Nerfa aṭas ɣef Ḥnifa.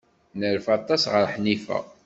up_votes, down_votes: 2, 1